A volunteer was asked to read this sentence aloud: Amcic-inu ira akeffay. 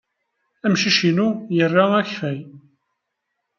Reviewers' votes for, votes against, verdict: 1, 2, rejected